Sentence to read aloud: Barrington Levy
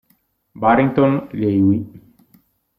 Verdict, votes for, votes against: accepted, 2, 0